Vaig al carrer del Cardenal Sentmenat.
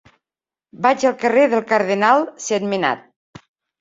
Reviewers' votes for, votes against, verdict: 3, 0, accepted